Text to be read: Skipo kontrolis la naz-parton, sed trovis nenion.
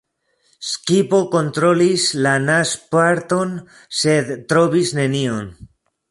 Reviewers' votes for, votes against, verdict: 1, 2, rejected